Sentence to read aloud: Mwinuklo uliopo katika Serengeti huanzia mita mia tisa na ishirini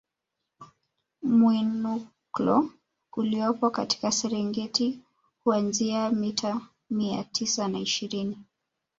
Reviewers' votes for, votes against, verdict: 1, 2, rejected